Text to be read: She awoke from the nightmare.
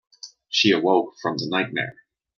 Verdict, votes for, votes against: accepted, 2, 0